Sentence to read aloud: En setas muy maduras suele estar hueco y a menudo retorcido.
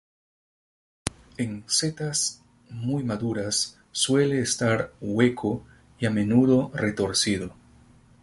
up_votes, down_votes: 0, 2